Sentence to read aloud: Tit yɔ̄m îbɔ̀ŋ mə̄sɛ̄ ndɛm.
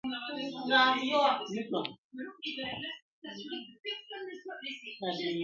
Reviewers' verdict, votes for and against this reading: rejected, 0, 2